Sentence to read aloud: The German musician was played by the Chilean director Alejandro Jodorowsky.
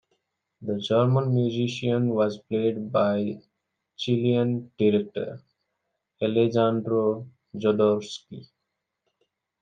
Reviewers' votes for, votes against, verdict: 1, 2, rejected